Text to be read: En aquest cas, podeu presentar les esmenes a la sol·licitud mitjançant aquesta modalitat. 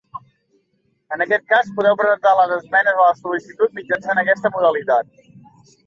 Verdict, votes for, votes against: accepted, 2, 1